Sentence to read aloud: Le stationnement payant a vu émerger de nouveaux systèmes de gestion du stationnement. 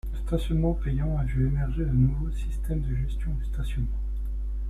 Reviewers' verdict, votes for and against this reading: accepted, 2, 0